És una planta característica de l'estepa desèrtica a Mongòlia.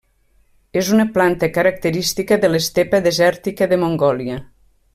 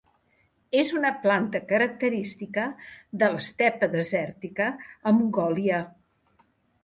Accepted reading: second